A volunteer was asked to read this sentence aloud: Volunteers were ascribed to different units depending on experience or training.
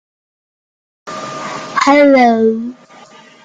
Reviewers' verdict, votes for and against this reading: rejected, 0, 2